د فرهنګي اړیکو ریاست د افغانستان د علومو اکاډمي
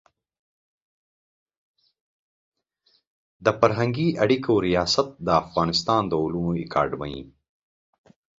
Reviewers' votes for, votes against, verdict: 2, 0, accepted